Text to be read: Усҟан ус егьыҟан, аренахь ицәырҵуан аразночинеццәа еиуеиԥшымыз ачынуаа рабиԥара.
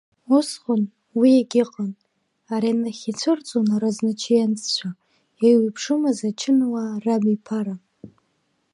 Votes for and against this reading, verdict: 0, 2, rejected